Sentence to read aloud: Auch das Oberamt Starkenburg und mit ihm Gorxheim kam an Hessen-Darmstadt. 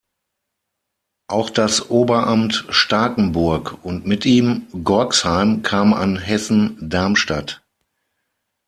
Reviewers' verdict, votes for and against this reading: accepted, 6, 0